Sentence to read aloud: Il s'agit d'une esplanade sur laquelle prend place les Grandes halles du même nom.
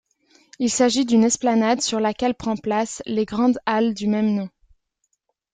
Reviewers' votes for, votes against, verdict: 2, 1, accepted